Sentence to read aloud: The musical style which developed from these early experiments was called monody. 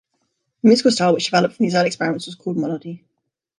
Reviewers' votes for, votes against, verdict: 1, 2, rejected